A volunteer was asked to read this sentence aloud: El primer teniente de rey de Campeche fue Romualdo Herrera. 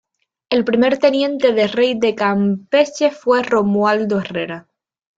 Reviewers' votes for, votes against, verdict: 1, 2, rejected